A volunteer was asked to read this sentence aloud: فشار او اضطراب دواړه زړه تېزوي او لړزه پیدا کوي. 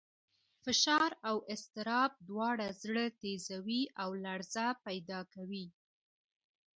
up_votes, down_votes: 1, 2